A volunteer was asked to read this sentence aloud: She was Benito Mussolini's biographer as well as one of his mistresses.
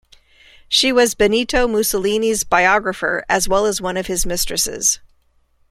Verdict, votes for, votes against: accepted, 2, 1